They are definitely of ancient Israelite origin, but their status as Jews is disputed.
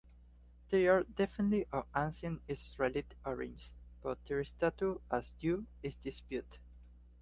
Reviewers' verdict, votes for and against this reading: accepted, 2, 0